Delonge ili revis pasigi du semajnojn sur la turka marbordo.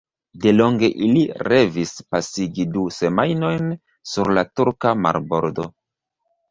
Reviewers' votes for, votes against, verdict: 0, 2, rejected